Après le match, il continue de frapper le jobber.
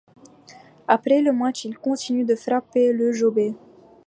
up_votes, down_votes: 2, 0